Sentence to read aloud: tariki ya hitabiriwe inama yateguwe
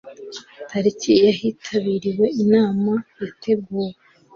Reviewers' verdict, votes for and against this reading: accepted, 2, 0